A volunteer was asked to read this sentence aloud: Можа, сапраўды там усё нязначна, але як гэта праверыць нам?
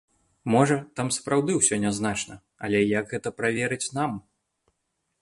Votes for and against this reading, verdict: 0, 2, rejected